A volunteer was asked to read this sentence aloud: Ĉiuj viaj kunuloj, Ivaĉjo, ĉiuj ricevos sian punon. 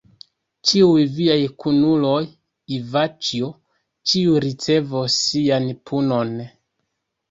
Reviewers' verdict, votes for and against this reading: rejected, 1, 2